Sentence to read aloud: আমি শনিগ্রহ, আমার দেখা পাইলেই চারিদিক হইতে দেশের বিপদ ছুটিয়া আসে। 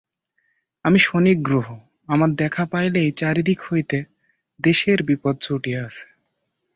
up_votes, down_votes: 0, 5